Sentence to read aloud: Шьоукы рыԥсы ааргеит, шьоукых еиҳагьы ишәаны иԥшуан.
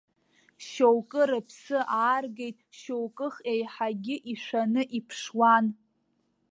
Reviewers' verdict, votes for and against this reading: accepted, 2, 0